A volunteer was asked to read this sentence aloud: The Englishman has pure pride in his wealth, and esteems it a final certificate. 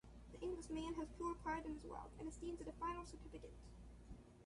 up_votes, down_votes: 0, 2